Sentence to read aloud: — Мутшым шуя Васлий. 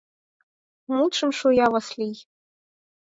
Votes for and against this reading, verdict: 4, 0, accepted